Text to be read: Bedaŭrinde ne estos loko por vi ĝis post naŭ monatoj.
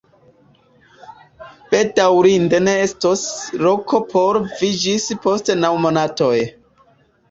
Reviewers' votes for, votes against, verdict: 0, 2, rejected